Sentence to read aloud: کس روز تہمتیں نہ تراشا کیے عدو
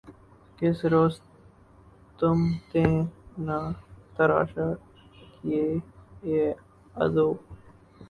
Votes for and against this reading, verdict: 0, 2, rejected